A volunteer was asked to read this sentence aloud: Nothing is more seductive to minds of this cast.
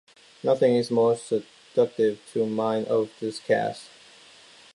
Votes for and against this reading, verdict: 0, 2, rejected